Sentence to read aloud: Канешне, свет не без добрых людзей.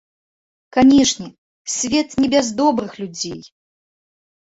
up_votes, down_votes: 2, 0